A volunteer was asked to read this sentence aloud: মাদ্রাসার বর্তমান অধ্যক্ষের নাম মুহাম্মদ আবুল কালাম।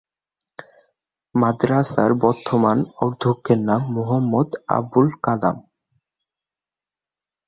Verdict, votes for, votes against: rejected, 2, 3